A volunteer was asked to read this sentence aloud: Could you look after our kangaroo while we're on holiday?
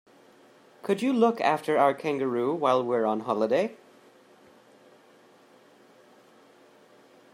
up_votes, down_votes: 2, 0